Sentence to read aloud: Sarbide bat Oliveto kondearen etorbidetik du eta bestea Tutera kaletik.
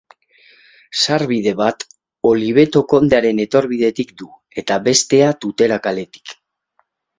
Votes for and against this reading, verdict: 2, 0, accepted